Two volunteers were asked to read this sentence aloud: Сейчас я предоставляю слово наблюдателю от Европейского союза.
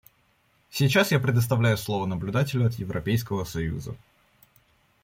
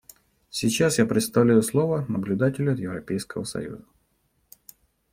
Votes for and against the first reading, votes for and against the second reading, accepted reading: 2, 0, 0, 2, first